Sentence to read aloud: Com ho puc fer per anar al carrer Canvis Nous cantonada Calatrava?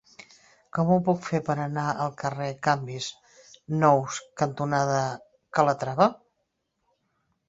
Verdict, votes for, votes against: rejected, 0, 2